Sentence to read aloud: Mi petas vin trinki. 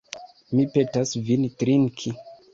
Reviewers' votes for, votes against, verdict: 3, 0, accepted